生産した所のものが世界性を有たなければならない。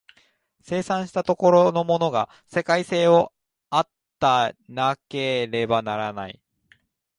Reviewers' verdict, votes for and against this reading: rejected, 1, 2